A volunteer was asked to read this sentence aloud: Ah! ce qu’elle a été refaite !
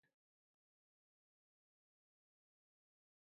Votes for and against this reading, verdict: 0, 2, rejected